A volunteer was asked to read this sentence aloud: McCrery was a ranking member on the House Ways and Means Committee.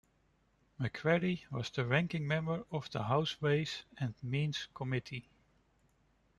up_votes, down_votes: 1, 2